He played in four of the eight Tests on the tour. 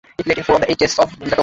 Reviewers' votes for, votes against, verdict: 0, 2, rejected